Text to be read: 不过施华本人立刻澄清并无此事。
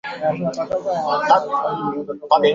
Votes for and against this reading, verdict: 1, 3, rejected